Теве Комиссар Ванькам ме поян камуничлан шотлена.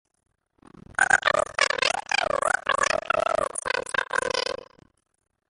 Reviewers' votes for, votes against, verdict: 0, 2, rejected